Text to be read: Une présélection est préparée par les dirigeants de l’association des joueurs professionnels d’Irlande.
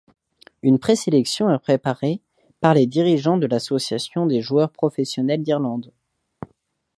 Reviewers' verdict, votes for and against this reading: accepted, 2, 0